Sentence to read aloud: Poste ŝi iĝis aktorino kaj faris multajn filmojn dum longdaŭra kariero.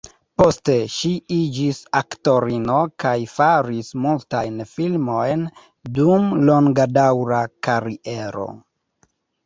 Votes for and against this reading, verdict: 0, 2, rejected